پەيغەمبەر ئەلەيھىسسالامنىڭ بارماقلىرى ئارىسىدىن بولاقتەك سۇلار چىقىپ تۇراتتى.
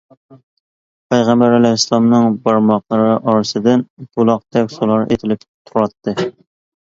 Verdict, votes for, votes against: rejected, 0, 2